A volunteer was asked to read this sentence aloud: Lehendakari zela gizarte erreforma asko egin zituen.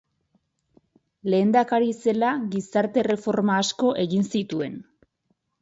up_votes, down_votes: 4, 0